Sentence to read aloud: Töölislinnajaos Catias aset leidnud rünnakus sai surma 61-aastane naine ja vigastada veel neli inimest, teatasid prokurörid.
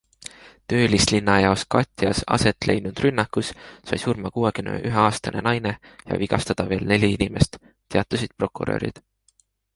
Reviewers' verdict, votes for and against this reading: rejected, 0, 2